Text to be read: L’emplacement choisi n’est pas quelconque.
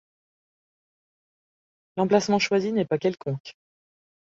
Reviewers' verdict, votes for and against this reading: rejected, 1, 2